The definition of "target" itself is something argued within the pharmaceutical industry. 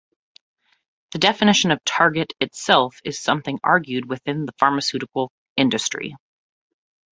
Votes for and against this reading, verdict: 2, 0, accepted